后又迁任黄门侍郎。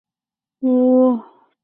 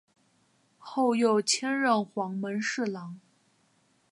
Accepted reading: second